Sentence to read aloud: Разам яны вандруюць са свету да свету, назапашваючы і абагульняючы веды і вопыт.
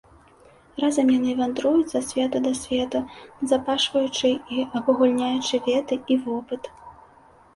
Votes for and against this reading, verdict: 2, 0, accepted